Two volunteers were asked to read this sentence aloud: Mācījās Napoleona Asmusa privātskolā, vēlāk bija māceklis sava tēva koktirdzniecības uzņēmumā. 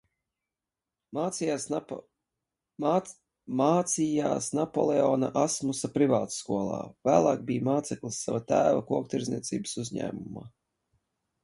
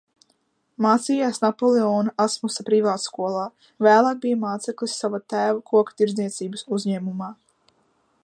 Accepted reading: second